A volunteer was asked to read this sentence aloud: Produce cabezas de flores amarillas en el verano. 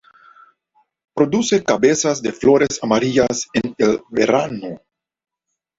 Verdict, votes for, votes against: accepted, 2, 0